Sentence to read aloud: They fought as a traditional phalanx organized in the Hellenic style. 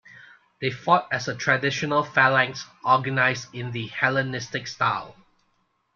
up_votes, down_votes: 0, 2